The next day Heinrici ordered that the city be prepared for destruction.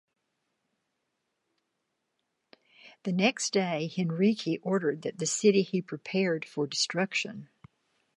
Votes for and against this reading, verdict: 1, 2, rejected